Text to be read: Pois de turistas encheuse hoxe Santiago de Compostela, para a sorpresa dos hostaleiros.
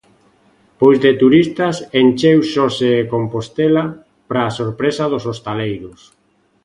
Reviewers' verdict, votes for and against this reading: rejected, 0, 2